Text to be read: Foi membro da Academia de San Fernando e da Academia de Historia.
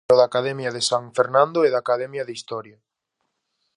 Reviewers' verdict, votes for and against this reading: rejected, 0, 2